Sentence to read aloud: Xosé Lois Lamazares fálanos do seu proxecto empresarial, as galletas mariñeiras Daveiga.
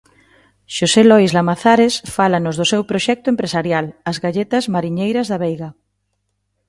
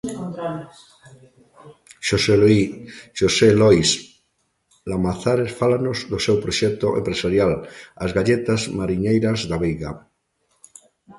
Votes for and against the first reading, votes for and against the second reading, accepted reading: 2, 0, 0, 2, first